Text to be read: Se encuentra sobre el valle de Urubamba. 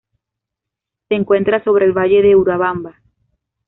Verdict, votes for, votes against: rejected, 0, 2